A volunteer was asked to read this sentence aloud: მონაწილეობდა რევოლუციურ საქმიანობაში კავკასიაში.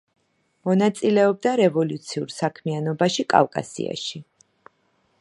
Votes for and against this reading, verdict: 1, 2, rejected